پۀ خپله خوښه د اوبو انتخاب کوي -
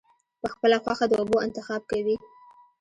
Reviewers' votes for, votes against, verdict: 2, 1, accepted